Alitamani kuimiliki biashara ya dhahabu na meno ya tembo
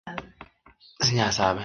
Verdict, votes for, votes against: rejected, 0, 2